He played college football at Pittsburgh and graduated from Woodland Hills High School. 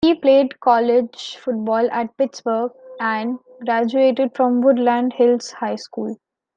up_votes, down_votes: 2, 0